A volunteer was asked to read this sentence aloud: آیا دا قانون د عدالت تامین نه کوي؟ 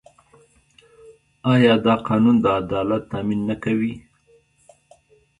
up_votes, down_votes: 1, 2